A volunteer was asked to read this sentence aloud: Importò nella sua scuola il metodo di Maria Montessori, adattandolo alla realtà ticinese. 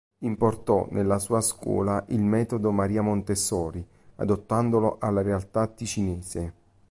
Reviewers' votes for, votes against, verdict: 1, 2, rejected